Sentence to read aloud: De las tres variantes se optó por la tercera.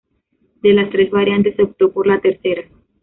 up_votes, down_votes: 2, 0